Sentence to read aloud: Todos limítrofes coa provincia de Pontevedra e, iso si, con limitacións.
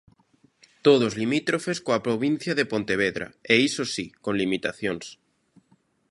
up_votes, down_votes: 1, 2